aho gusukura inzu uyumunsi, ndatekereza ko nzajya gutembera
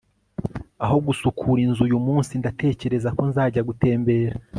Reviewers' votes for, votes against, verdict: 4, 0, accepted